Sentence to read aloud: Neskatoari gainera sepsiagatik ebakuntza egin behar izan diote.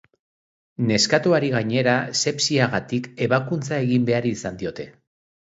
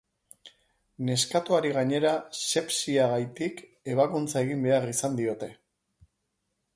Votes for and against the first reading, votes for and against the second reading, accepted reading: 2, 0, 0, 4, first